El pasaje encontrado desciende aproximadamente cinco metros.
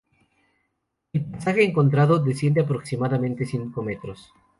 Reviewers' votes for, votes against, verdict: 2, 0, accepted